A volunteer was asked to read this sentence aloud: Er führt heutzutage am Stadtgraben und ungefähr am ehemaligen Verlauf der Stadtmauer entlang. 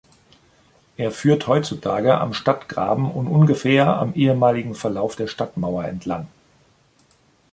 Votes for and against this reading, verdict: 2, 0, accepted